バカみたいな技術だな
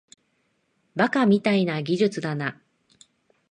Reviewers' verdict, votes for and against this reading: accepted, 2, 0